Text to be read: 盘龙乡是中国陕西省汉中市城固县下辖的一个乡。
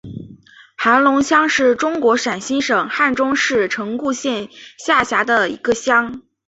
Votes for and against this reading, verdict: 2, 0, accepted